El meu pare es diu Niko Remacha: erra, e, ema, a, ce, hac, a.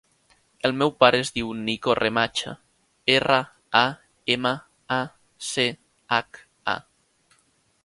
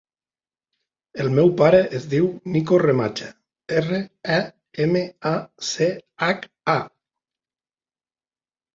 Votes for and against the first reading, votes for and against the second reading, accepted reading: 1, 2, 4, 0, second